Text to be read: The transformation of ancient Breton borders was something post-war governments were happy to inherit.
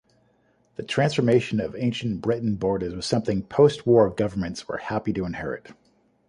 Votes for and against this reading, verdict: 2, 0, accepted